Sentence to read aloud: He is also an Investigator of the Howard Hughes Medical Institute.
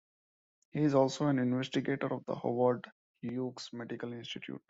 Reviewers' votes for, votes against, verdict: 1, 2, rejected